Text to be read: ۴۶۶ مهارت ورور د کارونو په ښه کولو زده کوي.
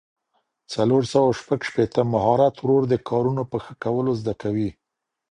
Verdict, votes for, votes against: rejected, 0, 2